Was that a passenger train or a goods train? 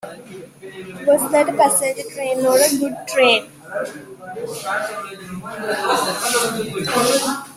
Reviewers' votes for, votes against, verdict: 0, 2, rejected